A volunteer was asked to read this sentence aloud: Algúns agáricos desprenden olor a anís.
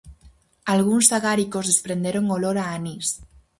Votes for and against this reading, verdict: 0, 4, rejected